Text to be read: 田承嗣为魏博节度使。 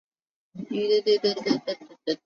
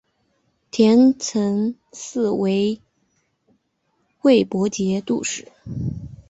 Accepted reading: second